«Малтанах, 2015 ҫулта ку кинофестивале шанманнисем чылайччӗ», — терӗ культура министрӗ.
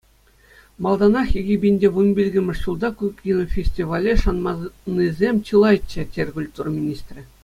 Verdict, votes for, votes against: rejected, 0, 2